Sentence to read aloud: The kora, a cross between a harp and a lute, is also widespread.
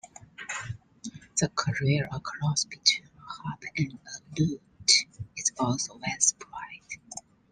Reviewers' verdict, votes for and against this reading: rejected, 0, 2